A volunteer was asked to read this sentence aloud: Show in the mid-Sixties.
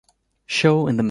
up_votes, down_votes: 1, 2